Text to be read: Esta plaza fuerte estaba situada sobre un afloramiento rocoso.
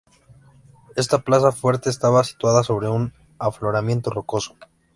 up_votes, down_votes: 2, 0